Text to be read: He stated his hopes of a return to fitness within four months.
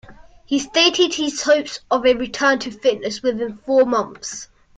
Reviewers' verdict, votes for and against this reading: accepted, 2, 0